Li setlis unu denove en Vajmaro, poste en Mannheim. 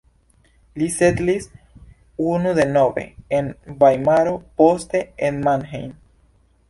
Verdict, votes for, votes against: accepted, 2, 1